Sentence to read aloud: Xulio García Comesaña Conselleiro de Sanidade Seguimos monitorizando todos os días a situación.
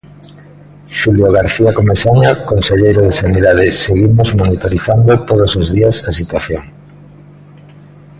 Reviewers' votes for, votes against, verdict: 2, 1, accepted